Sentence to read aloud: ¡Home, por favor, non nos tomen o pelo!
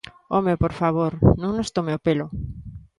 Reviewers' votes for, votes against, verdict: 1, 2, rejected